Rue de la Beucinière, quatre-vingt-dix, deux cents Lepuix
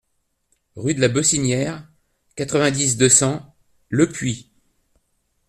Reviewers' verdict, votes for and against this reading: accepted, 2, 0